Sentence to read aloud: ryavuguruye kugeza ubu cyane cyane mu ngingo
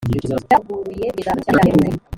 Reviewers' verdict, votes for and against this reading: rejected, 1, 2